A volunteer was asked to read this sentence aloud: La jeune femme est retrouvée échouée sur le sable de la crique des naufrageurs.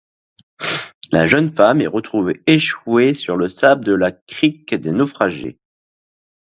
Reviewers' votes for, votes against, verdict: 1, 2, rejected